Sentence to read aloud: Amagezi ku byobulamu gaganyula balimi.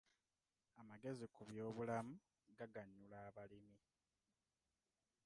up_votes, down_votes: 1, 2